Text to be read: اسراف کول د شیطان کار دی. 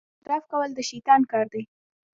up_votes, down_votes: 0, 2